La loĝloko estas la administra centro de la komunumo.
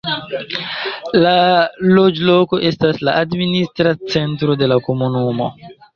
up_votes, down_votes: 1, 2